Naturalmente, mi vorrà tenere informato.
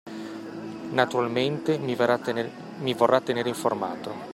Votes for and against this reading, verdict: 1, 2, rejected